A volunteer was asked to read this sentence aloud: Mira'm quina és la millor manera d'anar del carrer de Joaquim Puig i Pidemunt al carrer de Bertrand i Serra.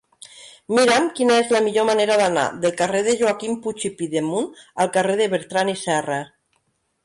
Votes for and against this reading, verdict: 2, 0, accepted